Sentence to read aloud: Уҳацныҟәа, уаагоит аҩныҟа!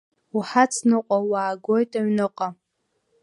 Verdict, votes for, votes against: accepted, 2, 0